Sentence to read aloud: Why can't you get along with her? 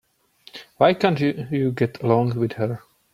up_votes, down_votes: 1, 2